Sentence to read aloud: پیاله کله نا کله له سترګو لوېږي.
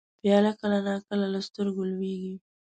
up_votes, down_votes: 1, 2